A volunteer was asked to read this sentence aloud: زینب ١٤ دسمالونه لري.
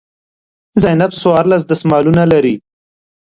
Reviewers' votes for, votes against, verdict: 0, 2, rejected